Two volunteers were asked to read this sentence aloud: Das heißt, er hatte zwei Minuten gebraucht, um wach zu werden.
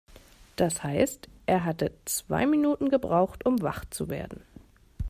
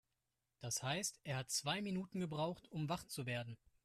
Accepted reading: first